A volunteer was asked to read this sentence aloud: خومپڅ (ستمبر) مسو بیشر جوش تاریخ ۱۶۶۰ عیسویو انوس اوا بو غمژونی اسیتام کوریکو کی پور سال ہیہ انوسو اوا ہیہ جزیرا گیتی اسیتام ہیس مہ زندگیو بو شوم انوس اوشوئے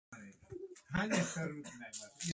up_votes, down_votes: 0, 2